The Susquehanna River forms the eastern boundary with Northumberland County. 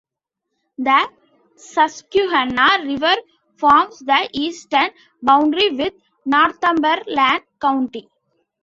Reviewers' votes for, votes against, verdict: 2, 0, accepted